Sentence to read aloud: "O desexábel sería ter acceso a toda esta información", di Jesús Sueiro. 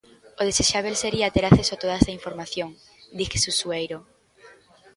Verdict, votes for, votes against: rejected, 0, 2